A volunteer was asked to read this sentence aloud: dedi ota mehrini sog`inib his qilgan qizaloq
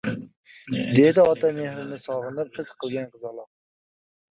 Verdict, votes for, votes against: rejected, 1, 2